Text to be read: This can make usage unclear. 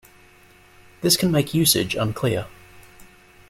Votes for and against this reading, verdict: 2, 0, accepted